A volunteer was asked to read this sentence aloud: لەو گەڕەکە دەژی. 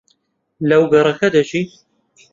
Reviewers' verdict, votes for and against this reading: accepted, 2, 1